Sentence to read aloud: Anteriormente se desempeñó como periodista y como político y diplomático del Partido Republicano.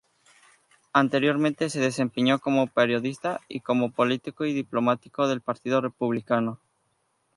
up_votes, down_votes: 0, 2